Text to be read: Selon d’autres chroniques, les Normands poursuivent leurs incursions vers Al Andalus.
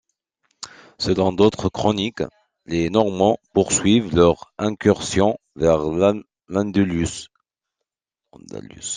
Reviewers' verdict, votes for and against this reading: rejected, 1, 2